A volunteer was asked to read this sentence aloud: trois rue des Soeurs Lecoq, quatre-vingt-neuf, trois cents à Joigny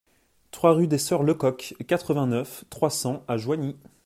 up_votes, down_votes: 2, 0